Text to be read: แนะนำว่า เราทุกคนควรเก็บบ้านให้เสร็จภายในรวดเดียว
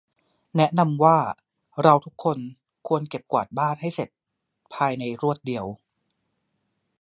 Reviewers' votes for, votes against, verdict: 0, 2, rejected